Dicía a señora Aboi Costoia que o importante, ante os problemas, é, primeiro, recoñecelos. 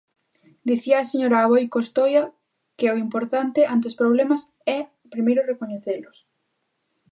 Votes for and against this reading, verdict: 2, 0, accepted